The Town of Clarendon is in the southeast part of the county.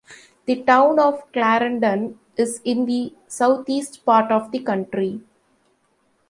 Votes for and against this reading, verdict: 1, 2, rejected